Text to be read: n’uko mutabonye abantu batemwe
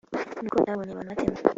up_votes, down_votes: 1, 3